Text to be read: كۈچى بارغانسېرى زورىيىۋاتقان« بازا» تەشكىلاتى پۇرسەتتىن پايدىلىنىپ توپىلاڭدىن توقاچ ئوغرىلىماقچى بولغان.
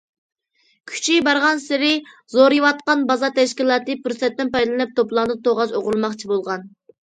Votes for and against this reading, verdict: 2, 0, accepted